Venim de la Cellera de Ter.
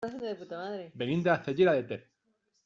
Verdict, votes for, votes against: rejected, 0, 2